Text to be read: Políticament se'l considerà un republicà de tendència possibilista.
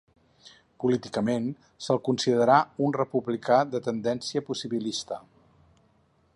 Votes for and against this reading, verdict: 4, 0, accepted